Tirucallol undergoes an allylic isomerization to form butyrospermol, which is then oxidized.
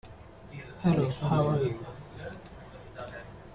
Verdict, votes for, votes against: rejected, 0, 2